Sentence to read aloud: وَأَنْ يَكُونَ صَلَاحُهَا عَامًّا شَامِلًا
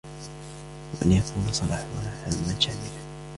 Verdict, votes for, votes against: accepted, 2, 1